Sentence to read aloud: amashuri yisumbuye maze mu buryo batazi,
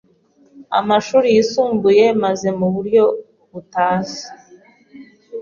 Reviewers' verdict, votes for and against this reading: rejected, 0, 2